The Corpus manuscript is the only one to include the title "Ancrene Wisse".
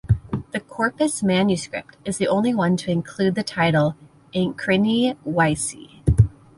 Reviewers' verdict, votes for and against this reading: rejected, 1, 2